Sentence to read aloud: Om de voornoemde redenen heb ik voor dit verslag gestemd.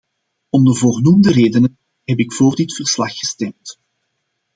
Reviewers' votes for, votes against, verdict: 2, 0, accepted